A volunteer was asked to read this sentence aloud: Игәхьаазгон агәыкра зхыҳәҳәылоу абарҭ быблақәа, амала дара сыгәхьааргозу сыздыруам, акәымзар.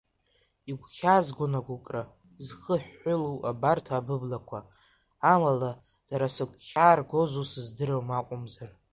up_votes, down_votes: 1, 2